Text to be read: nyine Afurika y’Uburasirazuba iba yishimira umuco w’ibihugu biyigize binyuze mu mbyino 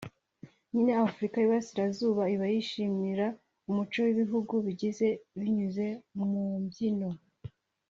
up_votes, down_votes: 1, 2